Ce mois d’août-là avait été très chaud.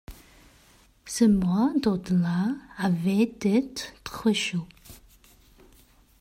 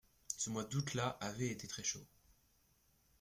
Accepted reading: second